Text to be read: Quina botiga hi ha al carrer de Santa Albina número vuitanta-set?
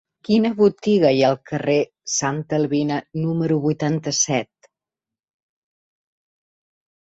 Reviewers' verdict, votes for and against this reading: rejected, 1, 2